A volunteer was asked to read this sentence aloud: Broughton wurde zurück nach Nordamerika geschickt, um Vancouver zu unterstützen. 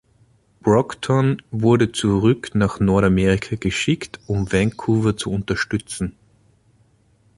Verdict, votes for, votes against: accepted, 2, 1